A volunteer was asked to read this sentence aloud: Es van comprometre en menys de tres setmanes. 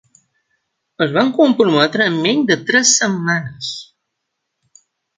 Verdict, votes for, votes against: accepted, 2, 0